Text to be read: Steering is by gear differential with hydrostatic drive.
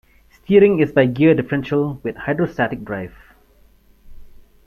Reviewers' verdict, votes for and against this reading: accepted, 2, 1